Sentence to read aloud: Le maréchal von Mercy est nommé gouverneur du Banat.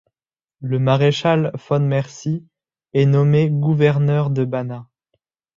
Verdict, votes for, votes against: rejected, 1, 2